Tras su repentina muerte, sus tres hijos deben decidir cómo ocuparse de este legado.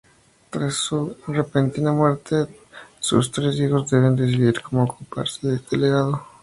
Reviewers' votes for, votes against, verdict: 2, 0, accepted